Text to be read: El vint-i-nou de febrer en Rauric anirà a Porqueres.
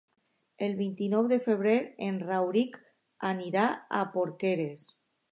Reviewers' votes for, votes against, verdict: 2, 0, accepted